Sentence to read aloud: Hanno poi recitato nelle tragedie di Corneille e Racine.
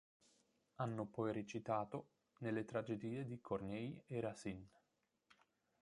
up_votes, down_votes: 0, 3